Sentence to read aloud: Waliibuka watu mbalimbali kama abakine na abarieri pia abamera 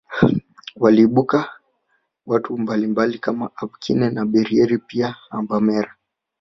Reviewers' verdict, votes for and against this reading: accepted, 2, 0